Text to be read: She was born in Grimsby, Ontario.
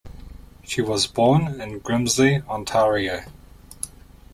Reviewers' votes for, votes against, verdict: 0, 2, rejected